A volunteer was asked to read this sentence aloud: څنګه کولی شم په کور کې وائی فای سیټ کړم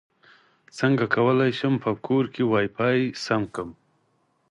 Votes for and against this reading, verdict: 4, 0, accepted